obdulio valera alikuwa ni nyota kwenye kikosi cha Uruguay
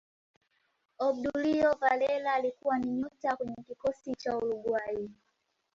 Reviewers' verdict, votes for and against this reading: rejected, 1, 2